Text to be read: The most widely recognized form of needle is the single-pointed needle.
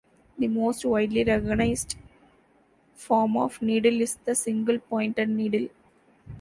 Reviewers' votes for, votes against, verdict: 2, 1, accepted